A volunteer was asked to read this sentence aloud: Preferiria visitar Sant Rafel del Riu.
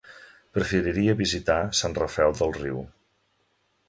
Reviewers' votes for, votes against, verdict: 2, 0, accepted